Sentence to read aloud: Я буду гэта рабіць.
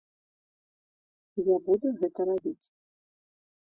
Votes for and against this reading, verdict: 2, 0, accepted